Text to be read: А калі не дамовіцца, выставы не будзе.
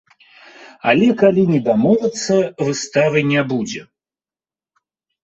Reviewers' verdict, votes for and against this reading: rejected, 0, 2